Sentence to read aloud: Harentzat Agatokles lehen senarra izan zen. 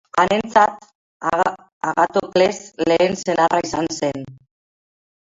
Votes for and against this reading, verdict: 0, 2, rejected